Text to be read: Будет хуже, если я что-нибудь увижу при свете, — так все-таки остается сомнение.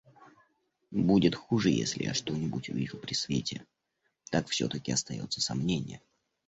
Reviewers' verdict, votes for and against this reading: accepted, 2, 0